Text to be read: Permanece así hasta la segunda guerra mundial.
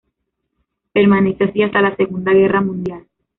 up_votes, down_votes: 1, 2